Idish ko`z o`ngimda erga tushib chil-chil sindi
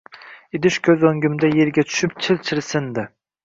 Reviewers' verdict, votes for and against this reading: accepted, 2, 0